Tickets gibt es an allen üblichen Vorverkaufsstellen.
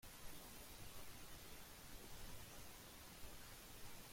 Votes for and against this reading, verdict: 0, 2, rejected